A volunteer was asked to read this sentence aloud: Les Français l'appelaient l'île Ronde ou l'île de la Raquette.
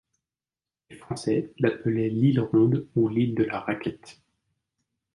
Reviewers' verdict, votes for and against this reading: accepted, 2, 1